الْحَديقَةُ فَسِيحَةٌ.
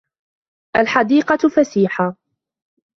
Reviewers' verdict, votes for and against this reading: accepted, 2, 0